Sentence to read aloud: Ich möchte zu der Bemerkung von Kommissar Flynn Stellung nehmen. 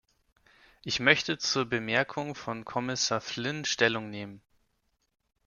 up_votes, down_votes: 1, 2